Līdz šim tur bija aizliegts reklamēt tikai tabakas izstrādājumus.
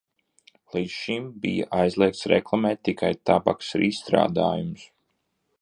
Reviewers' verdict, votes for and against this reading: rejected, 0, 2